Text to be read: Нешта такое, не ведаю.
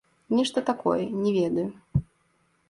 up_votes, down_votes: 2, 3